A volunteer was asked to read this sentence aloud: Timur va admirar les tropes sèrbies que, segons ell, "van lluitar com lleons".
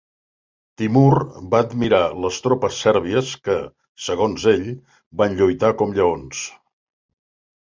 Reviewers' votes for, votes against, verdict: 2, 0, accepted